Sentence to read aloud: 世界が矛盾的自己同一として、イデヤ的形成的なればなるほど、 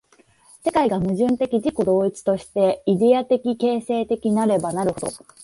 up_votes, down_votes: 0, 2